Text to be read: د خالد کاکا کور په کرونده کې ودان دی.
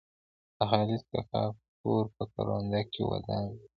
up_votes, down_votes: 2, 0